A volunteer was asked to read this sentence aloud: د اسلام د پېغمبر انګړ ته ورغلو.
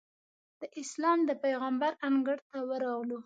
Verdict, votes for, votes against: accepted, 2, 0